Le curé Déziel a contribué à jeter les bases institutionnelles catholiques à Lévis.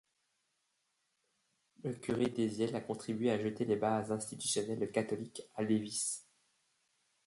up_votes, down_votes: 0, 2